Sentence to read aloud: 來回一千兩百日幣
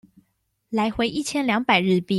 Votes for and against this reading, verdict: 2, 0, accepted